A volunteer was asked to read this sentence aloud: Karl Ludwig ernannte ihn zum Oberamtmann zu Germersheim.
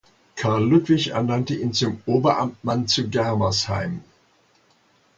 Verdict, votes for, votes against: accepted, 2, 0